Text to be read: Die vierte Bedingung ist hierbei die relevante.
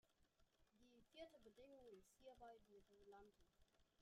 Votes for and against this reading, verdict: 0, 2, rejected